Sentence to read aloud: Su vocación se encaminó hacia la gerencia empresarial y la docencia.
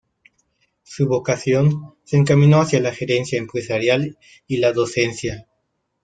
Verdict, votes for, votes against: accepted, 2, 0